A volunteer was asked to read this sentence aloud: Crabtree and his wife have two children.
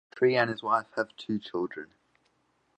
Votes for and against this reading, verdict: 0, 2, rejected